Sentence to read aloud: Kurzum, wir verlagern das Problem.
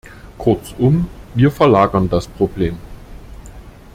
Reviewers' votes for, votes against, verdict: 2, 0, accepted